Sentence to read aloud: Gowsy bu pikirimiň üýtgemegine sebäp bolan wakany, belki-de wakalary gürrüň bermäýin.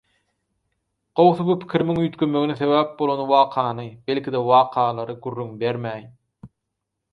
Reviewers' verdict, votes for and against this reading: accepted, 4, 0